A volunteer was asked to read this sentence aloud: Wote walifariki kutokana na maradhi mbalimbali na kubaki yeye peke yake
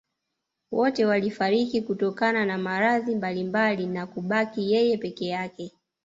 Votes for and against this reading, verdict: 0, 2, rejected